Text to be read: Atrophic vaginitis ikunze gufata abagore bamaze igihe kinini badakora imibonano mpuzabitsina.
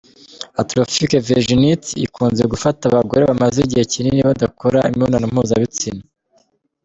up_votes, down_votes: 1, 2